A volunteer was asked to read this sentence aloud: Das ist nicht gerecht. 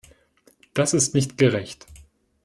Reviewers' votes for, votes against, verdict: 2, 0, accepted